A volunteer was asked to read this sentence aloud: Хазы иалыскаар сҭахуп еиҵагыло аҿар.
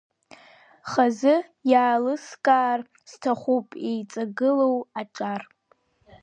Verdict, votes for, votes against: accepted, 2, 0